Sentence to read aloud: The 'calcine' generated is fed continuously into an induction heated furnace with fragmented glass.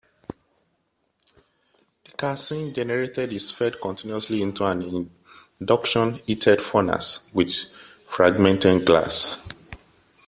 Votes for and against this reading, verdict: 2, 1, accepted